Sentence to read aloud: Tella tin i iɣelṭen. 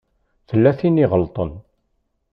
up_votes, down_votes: 2, 0